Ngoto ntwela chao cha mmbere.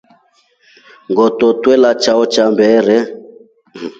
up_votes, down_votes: 2, 1